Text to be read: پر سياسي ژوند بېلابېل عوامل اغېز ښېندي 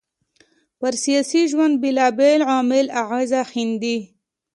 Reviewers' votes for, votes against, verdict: 2, 0, accepted